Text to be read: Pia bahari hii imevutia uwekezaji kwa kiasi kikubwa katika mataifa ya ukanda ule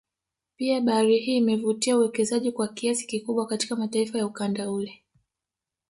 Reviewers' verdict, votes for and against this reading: rejected, 1, 2